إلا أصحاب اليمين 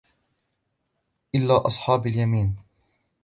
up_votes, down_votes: 2, 0